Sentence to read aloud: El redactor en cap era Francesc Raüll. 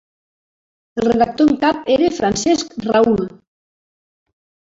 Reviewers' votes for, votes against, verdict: 2, 0, accepted